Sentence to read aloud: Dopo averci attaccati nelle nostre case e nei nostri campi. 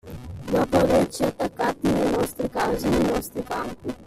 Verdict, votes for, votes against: rejected, 0, 2